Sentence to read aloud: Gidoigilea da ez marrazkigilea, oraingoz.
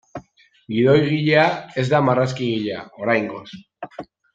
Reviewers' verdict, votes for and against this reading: rejected, 0, 2